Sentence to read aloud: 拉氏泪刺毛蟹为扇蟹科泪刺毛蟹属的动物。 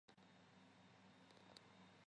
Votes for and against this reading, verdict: 0, 3, rejected